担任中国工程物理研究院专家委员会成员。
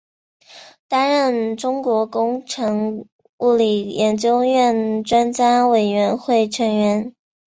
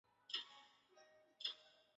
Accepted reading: first